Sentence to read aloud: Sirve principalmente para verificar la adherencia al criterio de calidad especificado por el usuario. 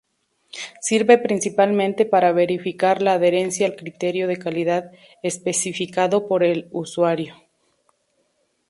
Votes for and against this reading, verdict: 2, 0, accepted